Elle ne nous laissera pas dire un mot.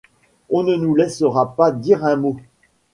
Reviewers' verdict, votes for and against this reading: rejected, 0, 2